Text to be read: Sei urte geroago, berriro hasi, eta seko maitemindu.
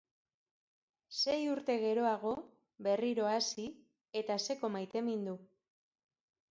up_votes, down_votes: 2, 0